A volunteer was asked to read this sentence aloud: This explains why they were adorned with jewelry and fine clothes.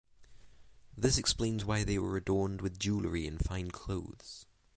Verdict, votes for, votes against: accepted, 6, 0